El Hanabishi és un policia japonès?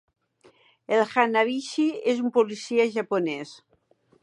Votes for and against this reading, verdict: 3, 1, accepted